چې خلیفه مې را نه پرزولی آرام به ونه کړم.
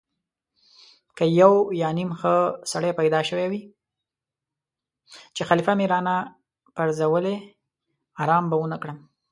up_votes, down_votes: 0, 2